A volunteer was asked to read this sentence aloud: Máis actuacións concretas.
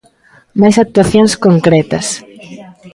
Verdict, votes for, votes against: rejected, 1, 2